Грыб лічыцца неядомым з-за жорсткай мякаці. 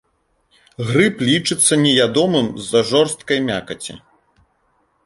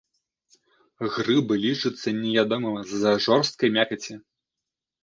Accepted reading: first